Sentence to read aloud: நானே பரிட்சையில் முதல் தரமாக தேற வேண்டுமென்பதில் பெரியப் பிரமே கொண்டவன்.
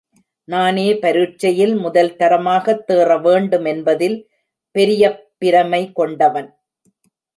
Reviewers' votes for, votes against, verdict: 0, 2, rejected